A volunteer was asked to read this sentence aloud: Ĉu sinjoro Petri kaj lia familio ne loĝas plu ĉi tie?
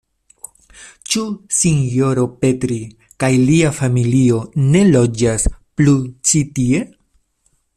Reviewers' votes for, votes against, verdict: 2, 0, accepted